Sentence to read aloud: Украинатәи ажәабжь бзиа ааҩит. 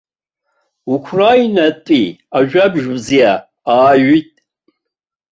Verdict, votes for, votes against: rejected, 0, 2